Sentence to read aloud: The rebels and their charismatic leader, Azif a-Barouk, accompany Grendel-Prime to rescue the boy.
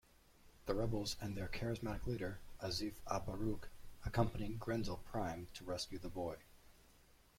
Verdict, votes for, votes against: rejected, 1, 2